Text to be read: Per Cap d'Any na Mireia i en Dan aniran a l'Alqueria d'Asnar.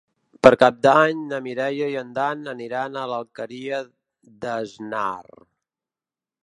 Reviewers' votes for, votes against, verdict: 1, 2, rejected